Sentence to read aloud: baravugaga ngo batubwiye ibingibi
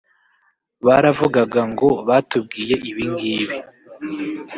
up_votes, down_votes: 0, 2